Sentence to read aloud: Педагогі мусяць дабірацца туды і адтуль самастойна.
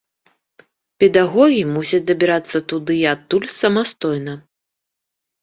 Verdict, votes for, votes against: accepted, 2, 0